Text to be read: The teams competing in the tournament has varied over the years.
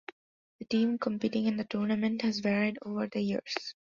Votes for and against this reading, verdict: 0, 2, rejected